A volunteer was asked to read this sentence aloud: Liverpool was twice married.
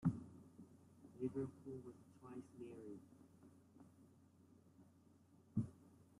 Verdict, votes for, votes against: rejected, 0, 2